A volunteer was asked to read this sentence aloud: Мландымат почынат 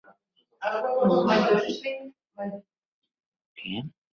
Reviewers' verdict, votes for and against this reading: rejected, 1, 2